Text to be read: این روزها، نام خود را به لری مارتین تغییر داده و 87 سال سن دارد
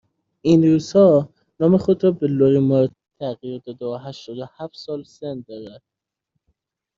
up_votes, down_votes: 0, 2